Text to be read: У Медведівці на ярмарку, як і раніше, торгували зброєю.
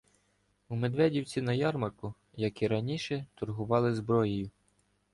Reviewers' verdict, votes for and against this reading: rejected, 1, 2